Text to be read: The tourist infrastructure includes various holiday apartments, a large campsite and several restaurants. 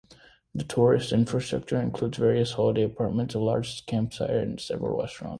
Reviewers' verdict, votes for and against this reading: rejected, 1, 2